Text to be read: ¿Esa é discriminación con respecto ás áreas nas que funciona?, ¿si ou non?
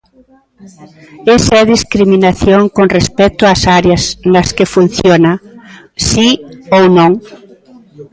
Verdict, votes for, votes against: accepted, 2, 0